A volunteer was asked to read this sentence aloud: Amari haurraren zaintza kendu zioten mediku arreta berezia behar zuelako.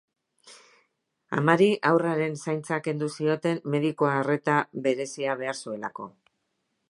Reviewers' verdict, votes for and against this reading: accepted, 2, 0